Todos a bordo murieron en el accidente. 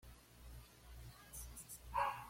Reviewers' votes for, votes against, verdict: 1, 2, rejected